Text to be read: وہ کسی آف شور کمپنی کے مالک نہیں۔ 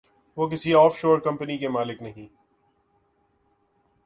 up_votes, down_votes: 2, 0